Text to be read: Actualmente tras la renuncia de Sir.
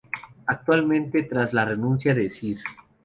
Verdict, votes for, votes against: rejected, 2, 2